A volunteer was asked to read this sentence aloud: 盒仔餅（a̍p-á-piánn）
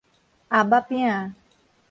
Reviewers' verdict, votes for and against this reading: accepted, 4, 0